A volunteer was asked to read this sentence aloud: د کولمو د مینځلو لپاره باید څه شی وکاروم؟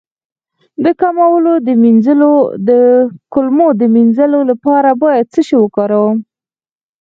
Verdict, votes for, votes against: rejected, 2, 4